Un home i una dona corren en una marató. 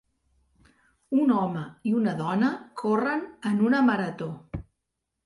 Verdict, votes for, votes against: accepted, 2, 0